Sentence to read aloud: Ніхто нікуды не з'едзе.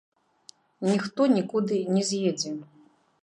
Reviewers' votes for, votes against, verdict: 1, 2, rejected